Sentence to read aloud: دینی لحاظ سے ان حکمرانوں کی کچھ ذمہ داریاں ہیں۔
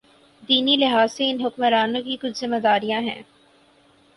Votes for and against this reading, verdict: 4, 0, accepted